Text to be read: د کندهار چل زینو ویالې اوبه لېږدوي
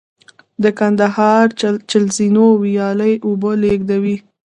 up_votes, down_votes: 1, 2